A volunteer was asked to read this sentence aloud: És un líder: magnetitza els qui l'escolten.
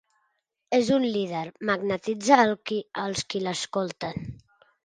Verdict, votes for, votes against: rejected, 1, 2